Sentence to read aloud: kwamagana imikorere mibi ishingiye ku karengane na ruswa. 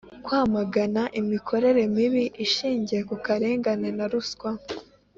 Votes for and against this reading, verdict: 3, 1, accepted